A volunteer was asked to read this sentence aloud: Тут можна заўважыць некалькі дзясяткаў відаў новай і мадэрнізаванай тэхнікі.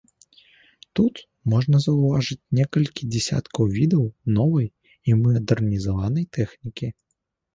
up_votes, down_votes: 2, 1